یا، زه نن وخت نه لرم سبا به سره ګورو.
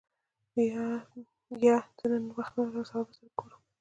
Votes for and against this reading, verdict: 1, 2, rejected